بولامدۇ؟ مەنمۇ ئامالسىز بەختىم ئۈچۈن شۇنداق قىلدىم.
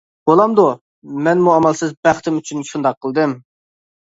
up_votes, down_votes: 3, 0